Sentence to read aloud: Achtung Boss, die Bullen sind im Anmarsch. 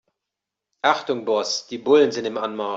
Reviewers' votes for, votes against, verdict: 1, 2, rejected